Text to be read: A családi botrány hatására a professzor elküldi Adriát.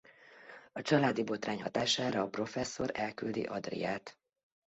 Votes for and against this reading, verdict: 2, 0, accepted